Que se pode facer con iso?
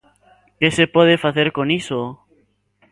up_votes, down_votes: 2, 1